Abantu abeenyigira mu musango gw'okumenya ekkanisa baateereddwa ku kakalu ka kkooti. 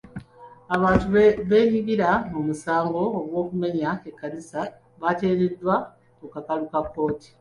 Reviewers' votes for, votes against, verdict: 1, 2, rejected